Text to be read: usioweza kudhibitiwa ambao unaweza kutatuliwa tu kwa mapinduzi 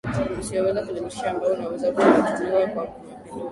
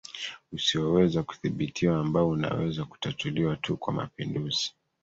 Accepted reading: second